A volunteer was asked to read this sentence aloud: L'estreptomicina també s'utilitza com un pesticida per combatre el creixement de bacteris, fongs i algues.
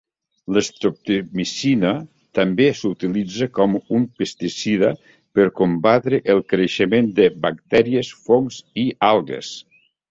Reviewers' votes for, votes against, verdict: 1, 2, rejected